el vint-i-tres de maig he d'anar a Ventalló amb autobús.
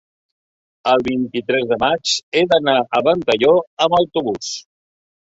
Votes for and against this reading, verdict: 3, 0, accepted